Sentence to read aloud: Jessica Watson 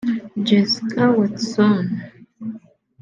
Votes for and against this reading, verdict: 1, 2, rejected